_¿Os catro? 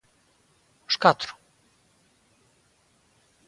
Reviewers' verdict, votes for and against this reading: accepted, 2, 0